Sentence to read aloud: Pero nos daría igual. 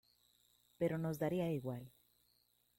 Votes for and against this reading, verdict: 2, 1, accepted